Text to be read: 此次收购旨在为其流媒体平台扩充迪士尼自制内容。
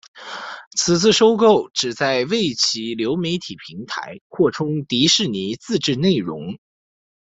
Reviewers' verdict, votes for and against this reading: accepted, 2, 1